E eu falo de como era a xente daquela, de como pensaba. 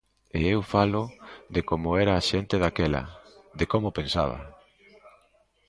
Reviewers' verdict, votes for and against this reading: accepted, 2, 0